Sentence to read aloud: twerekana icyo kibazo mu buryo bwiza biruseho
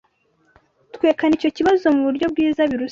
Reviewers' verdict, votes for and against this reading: rejected, 0, 2